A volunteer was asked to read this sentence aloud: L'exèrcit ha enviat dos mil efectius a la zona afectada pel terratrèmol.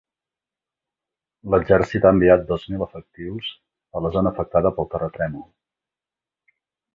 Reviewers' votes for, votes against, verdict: 2, 1, accepted